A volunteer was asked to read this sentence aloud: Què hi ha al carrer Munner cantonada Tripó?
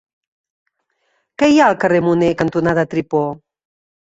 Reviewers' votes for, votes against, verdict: 1, 3, rejected